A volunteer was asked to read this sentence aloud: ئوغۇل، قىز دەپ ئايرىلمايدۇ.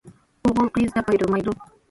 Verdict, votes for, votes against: rejected, 1, 2